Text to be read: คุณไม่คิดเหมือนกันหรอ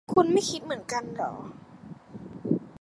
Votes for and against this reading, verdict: 2, 1, accepted